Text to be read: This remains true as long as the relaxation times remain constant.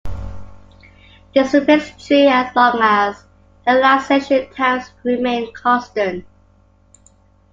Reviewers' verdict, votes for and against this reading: accepted, 2, 1